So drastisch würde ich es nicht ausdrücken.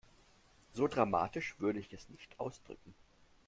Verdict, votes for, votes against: rejected, 0, 2